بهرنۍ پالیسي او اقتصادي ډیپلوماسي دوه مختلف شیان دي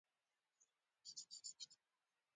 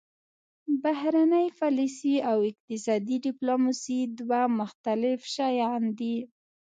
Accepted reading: second